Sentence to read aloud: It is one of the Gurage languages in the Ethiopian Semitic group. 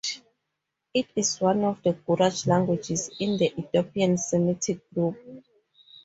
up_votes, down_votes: 4, 0